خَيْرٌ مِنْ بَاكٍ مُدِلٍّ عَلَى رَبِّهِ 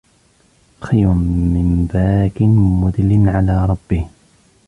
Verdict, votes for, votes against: accepted, 3, 1